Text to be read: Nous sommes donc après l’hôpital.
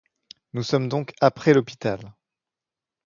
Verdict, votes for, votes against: accepted, 2, 0